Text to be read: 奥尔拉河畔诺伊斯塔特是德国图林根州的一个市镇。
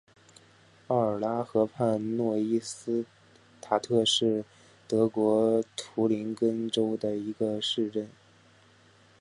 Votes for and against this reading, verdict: 3, 1, accepted